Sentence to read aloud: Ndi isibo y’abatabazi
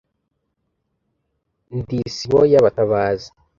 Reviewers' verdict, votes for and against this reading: accepted, 2, 0